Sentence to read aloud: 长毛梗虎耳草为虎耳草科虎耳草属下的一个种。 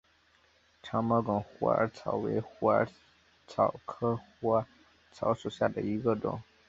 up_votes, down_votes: 3, 1